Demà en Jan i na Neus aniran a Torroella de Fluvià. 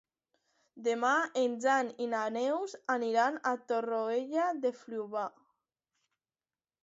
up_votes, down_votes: 0, 2